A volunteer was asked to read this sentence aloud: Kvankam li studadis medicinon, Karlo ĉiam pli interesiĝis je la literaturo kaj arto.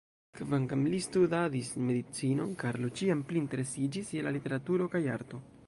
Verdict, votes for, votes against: rejected, 1, 2